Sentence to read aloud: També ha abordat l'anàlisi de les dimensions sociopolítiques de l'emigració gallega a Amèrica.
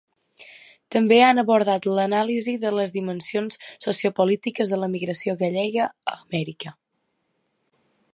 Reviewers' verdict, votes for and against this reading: rejected, 0, 2